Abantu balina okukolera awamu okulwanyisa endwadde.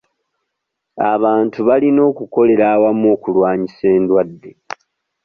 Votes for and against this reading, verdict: 2, 1, accepted